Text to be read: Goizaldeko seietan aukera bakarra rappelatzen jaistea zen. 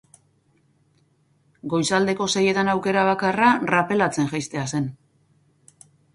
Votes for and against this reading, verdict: 6, 0, accepted